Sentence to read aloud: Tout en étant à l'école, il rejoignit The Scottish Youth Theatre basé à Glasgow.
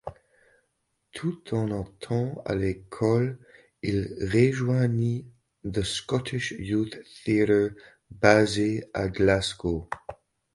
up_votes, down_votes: 1, 2